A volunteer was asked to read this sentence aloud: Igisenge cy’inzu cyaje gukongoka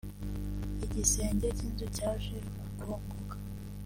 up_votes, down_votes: 1, 2